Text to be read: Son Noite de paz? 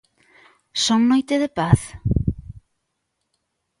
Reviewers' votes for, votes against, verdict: 2, 0, accepted